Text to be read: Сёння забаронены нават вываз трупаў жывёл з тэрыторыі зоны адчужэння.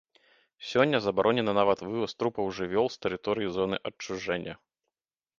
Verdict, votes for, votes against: accepted, 2, 0